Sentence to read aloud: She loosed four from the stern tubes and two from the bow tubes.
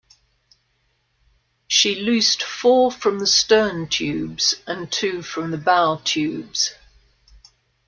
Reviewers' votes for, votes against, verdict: 0, 2, rejected